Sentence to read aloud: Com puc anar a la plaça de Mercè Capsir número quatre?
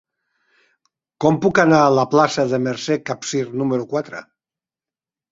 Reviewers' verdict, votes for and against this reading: accepted, 8, 0